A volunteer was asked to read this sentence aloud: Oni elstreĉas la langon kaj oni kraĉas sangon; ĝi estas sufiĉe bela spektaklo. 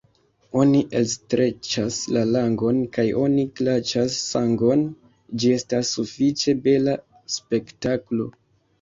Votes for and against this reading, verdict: 1, 2, rejected